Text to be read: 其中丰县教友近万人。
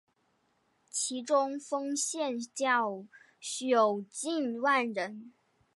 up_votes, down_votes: 0, 2